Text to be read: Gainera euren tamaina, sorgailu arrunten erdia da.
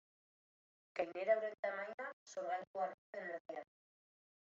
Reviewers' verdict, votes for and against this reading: rejected, 0, 2